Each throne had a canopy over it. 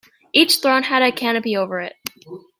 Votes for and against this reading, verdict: 2, 0, accepted